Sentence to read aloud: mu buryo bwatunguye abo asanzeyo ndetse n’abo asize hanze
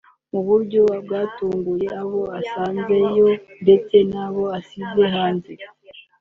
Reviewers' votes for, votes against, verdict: 0, 2, rejected